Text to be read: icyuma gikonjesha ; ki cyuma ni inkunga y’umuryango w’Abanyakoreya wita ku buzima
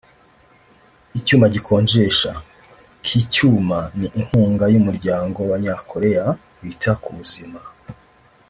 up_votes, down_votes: 0, 2